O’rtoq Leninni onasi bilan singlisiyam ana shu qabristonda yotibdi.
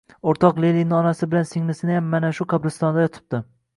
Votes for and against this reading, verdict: 1, 2, rejected